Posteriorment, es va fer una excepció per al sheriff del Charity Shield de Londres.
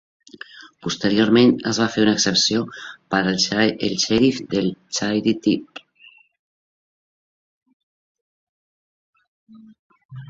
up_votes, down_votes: 0, 2